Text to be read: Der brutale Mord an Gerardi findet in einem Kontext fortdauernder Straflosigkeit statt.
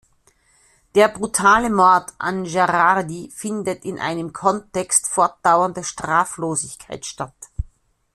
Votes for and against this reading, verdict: 2, 0, accepted